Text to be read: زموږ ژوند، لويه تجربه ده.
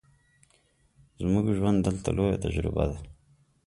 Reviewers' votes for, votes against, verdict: 0, 2, rejected